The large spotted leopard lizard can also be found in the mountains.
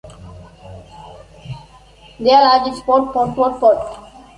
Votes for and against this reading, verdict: 0, 2, rejected